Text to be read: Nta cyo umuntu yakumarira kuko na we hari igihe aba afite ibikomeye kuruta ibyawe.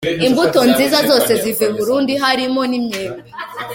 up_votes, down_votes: 0, 2